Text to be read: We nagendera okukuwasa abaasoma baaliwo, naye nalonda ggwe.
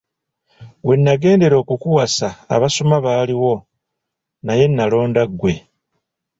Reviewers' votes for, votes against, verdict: 1, 2, rejected